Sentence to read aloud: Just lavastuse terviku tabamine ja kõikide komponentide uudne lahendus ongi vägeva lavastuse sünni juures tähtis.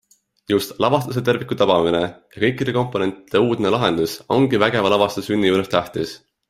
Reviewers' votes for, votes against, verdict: 2, 0, accepted